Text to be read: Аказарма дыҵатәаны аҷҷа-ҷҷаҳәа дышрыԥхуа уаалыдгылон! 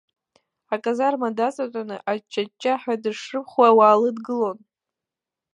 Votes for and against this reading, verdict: 1, 2, rejected